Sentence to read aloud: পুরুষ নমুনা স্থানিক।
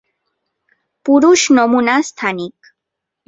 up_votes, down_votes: 2, 0